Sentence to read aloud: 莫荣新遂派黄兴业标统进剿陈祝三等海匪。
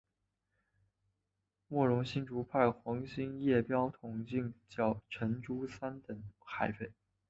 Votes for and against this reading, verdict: 3, 0, accepted